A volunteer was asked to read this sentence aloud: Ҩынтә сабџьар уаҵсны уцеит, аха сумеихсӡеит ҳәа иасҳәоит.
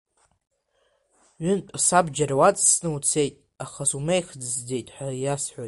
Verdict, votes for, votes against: rejected, 1, 2